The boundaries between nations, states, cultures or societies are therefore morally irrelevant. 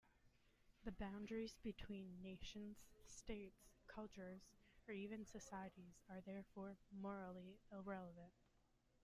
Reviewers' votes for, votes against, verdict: 0, 2, rejected